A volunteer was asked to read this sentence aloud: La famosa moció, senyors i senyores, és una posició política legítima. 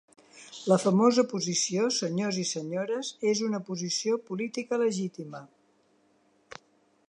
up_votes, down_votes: 1, 2